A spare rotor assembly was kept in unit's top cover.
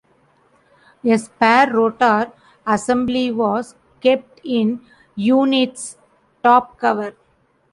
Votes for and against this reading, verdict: 1, 2, rejected